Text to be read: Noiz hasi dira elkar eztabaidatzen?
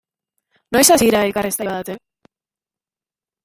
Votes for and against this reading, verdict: 0, 2, rejected